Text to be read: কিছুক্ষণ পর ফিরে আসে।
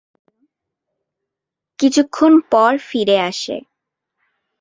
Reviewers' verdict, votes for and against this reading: accepted, 2, 0